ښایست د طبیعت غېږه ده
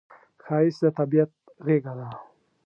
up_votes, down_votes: 3, 0